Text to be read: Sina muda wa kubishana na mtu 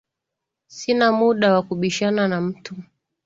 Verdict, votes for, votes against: accepted, 2, 0